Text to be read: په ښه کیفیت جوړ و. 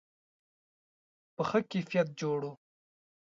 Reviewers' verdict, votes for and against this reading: accepted, 2, 0